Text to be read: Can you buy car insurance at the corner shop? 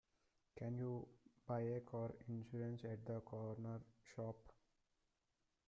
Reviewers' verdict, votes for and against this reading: rejected, 0, 2